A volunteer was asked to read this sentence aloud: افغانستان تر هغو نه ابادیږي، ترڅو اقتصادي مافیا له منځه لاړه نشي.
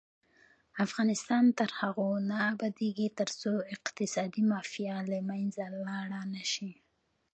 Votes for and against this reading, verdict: 2, 0, accepted